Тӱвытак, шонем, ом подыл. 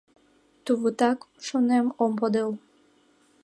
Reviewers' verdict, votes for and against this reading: rejected, 1, 2